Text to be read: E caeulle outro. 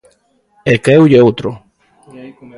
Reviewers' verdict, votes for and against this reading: rejected, 0, 2